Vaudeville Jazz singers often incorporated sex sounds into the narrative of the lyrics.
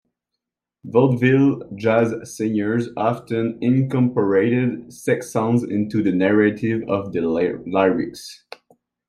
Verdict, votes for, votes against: rejected, 0, 2